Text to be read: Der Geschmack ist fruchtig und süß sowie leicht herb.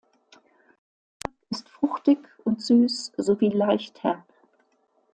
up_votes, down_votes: 0, 2